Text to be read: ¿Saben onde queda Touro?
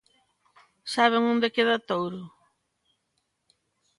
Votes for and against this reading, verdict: 2, 0, accepted